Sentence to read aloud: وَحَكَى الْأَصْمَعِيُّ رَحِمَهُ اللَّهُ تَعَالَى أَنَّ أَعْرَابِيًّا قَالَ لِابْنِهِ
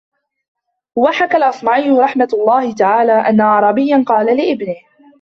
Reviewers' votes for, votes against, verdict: 0, 2, rejected